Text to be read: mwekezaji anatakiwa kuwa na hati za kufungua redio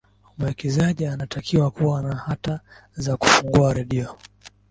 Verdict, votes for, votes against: accepted, 2, 0